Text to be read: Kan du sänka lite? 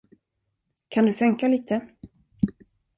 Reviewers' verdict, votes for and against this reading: accepted, 2, 0